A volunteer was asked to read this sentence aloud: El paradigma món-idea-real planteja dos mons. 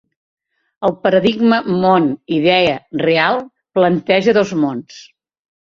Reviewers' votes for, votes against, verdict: 2, 0, accepted